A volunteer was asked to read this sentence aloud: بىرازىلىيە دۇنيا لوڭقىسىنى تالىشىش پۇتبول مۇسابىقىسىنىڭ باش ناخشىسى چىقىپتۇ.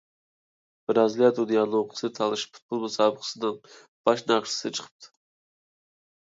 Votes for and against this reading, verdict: 1, 2, rejected